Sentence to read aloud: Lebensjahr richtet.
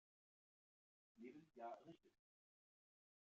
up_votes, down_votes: 0, 2